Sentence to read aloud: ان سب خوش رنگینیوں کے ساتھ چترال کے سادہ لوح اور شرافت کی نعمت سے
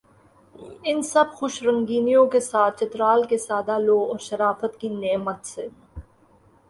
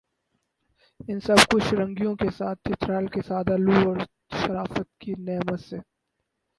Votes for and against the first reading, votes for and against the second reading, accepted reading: 7, 5, 0, 4, first